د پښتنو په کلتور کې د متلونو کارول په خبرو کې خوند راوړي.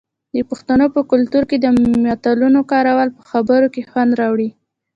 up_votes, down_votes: 2, 0